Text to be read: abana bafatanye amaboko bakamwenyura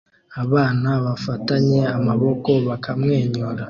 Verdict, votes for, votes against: accepted, 2, 0